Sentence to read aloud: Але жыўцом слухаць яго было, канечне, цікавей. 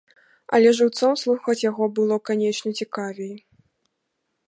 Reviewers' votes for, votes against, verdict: 2, 0, accepted